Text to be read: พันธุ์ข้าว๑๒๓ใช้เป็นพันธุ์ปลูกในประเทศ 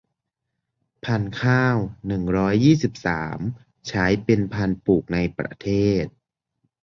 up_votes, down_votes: 0, 2